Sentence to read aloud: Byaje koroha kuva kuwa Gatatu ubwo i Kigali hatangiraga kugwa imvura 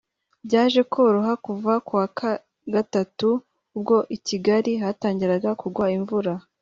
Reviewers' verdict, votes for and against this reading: accepted, 3, 2